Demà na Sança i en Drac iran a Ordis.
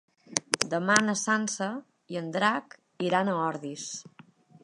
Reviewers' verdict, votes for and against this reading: accepted, 5, 0